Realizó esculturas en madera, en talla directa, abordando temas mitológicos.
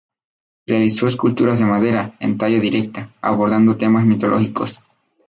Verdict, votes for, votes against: rejected, 0, 2